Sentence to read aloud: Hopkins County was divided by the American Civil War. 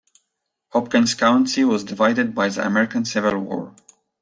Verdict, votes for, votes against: accepted, 2, 1